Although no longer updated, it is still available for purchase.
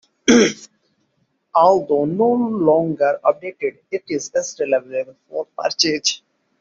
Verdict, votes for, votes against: rejected, 0, 2